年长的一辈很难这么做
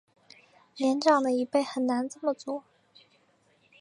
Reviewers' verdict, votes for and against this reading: accepted, 2, 0